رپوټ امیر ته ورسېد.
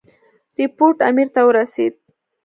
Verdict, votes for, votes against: accepted, 2, 0